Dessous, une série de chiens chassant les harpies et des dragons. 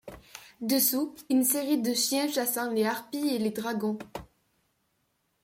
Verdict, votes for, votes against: rejected, 1, 2